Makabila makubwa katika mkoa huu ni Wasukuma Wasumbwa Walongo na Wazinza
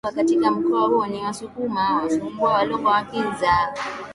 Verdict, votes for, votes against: rejected, 1, 2